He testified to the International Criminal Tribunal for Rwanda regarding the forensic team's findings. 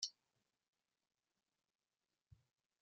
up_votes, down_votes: 0, 2